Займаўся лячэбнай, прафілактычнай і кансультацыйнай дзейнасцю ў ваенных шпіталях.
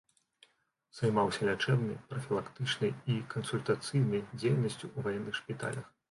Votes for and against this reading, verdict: 2, 0, accepted